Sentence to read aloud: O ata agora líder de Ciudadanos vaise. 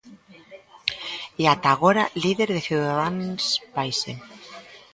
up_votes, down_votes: 0, 2